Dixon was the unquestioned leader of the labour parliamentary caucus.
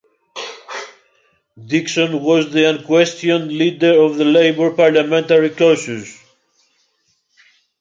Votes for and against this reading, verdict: 1, 2, rejected